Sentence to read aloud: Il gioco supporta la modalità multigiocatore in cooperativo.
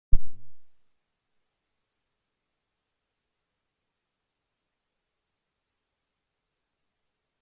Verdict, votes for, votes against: rejected, 0, 2